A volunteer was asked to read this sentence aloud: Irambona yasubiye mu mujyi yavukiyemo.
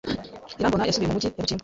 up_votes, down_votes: 1, 2